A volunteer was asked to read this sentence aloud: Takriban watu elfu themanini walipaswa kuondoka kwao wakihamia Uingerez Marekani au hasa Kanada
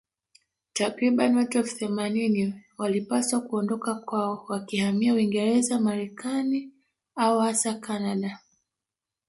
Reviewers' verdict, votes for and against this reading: rejected, 1, 2